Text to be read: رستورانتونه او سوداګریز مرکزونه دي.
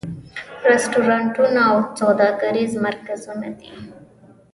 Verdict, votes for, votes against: accepted, 2, 0